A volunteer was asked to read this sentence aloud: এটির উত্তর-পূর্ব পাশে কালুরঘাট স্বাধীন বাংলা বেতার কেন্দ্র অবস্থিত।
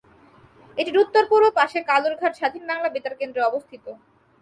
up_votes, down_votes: 2, 2